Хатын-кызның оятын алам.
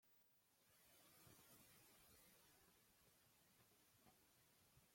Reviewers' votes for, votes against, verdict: 0, 2, rejected